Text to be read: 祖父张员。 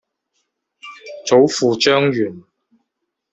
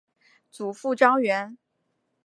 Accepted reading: second